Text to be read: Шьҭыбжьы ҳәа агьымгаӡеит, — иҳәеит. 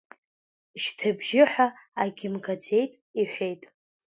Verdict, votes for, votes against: accepted, 2, 1